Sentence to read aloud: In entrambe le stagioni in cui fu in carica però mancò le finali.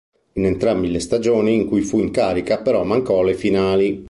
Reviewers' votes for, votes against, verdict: 2, 3, rejected